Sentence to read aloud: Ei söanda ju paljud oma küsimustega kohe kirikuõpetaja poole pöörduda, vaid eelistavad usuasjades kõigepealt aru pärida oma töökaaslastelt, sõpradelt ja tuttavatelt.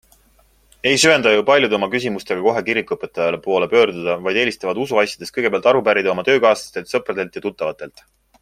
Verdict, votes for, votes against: accepted, 2, 0